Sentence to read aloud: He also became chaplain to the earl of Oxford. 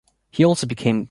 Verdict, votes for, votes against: rejected, 1, 2